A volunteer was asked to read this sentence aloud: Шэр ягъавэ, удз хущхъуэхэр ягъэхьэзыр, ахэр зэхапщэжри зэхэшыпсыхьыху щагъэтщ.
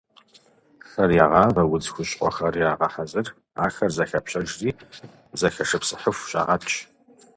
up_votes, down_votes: 2, 0